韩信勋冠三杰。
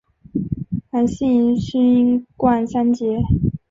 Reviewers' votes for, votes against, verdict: 2, 0, accepted